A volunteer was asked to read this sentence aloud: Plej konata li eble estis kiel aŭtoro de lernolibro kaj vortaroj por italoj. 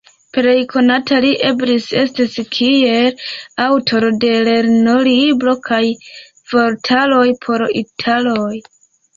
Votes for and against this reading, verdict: 2, 0, accepted